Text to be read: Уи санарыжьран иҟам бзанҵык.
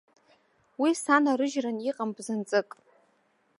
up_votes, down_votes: 2, 0